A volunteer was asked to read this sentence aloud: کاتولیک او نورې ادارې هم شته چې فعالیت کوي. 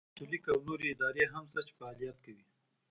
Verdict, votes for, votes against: rejected, 1, 2